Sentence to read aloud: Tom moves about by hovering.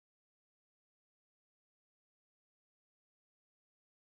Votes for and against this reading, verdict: 0, 2, rejected